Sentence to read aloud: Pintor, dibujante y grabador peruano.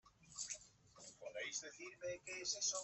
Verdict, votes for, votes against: rejected, 0, 2